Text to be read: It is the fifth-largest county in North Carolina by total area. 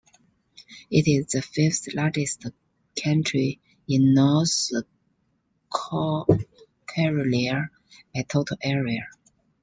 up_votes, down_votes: 0, 2